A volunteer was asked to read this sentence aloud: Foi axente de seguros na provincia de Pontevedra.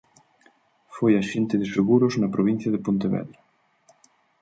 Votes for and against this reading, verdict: 4, 0, accepted